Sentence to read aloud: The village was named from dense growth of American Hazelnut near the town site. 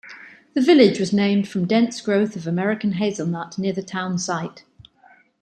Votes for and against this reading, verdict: 2, 0, accepted